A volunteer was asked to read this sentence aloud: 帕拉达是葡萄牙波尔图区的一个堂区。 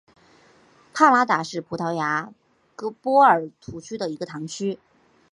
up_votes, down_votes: 4, 0